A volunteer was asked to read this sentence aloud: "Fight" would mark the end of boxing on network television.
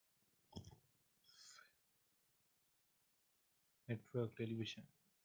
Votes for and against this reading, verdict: 0, 2, rejected